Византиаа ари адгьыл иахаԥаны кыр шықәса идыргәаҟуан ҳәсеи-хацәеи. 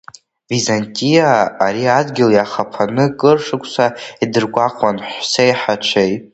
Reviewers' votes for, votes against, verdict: 2, 0, accepted